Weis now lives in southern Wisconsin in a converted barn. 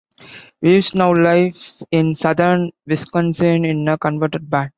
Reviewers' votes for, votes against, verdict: 2, 1, accepted